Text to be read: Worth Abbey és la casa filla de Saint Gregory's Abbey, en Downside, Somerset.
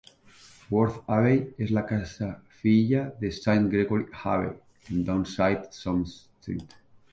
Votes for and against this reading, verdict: 1, 2, rejected